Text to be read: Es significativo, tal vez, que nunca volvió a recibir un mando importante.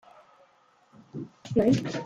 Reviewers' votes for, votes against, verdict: 0, 2, rejected